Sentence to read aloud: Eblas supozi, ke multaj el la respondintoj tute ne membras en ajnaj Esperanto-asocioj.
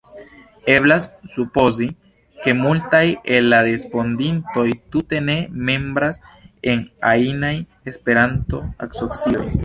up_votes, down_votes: 2, 0